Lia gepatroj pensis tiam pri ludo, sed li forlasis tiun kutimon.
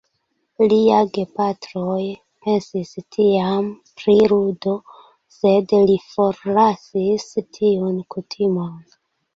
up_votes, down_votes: 2, 0